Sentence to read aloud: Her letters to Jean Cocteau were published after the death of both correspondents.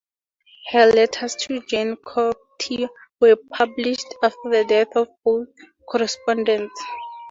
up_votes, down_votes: 4, 0